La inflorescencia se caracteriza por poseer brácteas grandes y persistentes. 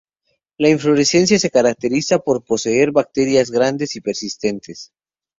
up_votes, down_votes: 2, 0